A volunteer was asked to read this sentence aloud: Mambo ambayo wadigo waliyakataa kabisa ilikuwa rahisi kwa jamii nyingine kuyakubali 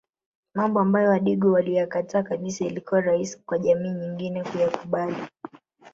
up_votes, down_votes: 0, 2